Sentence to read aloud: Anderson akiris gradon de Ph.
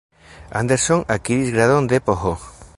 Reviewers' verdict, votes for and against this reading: rejected, 2, 3